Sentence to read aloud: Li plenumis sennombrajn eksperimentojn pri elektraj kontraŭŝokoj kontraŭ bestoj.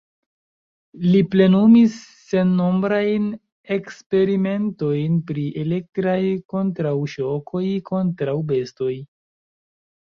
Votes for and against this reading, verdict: 2, 1, accepted